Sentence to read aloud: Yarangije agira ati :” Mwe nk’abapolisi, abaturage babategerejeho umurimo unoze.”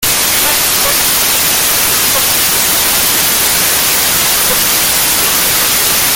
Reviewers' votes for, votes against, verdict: 0, 2, rejected